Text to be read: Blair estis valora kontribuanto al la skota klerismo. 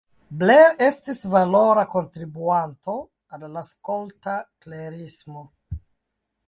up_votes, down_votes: 0, 2